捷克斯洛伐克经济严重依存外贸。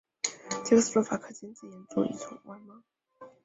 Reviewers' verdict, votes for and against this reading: rejected, 0, 4